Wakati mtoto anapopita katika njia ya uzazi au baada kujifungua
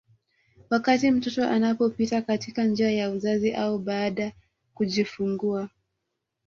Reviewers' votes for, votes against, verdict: 2, 0, accepted